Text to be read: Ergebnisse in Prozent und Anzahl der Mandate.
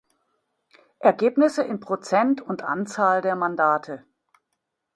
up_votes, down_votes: 2, 0